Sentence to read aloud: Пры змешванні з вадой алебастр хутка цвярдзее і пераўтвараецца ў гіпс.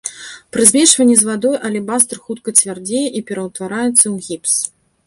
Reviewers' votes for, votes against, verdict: 2, 0, accepted